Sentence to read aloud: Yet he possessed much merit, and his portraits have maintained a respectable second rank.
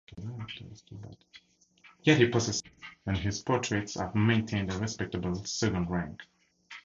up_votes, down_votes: 0, 4